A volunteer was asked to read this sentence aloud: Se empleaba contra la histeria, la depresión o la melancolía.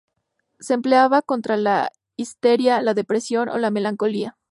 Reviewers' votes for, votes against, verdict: 2, 2, rejected